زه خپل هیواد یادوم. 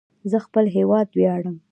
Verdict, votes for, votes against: rejected, 0, 2